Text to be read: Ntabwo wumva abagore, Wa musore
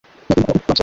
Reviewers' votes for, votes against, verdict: 1, 3, rejected